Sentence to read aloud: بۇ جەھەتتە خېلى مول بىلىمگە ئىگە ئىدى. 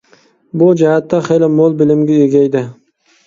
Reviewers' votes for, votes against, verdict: 2, 0, accepted